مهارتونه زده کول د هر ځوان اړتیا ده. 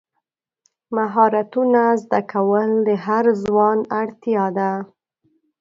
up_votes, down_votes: 2, 0